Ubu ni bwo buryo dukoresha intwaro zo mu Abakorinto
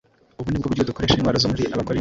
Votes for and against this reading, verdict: 1, 2, rejected